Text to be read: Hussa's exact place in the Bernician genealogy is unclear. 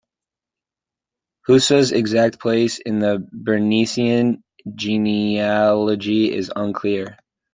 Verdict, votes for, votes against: rejected, 0, 2